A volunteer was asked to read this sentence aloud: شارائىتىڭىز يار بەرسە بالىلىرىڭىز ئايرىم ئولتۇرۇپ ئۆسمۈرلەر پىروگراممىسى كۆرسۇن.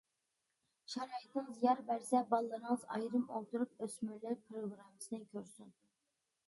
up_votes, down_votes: 1, 2